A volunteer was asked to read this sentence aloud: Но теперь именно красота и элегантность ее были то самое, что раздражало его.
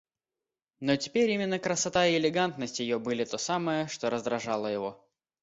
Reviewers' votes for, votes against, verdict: 2, 0, accepted